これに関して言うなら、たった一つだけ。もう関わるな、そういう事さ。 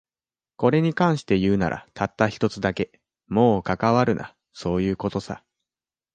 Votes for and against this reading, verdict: 2, 1, accepted